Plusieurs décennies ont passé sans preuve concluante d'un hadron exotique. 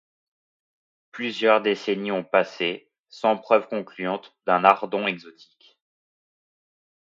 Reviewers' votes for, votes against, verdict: 0, 2, rejected